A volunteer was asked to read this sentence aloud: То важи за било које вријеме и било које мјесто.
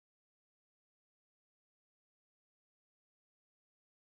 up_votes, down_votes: 0, 2